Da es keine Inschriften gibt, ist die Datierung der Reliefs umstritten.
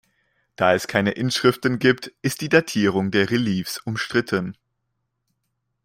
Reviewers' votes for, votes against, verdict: 1, 2, rejected